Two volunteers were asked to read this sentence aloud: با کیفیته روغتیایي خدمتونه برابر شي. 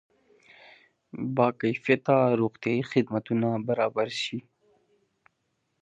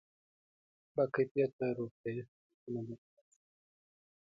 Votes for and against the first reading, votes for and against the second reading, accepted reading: 2, 0, 1, 2, first